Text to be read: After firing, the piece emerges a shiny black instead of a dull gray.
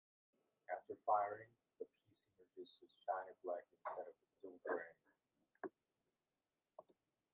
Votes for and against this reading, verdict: 0, 2, rejected